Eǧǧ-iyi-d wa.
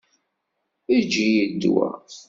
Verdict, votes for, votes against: rejected, 1, 2